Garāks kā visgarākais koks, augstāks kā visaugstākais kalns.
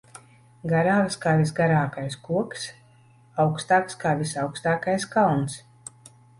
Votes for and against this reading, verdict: 2, 0, accepted